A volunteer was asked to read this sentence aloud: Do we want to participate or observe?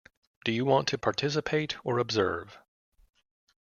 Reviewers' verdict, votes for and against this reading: rejected, 1, 2